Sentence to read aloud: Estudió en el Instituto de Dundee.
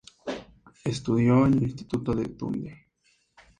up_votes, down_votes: 2, 0